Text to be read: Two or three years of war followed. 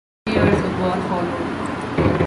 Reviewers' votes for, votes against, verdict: 0, 2, rejected